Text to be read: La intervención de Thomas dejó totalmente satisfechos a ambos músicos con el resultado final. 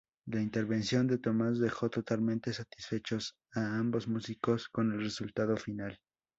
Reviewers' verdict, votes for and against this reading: rejected, 0, 2